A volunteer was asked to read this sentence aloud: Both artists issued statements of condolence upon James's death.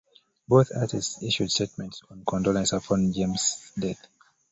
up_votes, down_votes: 2, 0